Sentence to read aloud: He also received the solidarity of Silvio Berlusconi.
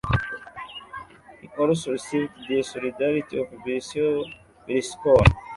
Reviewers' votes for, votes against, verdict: 0, 2, rejected